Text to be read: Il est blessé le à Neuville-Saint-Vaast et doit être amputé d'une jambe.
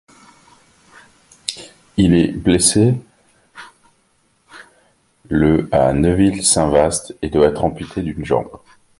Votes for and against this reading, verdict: 2, 0, accepted